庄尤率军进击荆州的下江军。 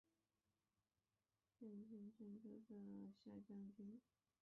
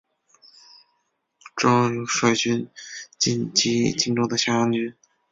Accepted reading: second